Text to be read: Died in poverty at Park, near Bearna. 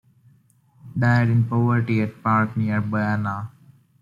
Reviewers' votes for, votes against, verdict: 2, 0, accepted